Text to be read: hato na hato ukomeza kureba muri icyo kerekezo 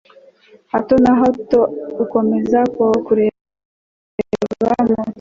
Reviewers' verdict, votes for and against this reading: rejected, 1, 2